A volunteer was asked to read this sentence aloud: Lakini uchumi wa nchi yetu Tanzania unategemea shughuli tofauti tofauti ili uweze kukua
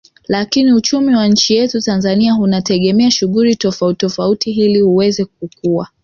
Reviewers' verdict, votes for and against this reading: rejected, 1, 2